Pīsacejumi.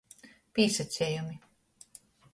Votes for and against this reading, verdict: 2, 0, accepted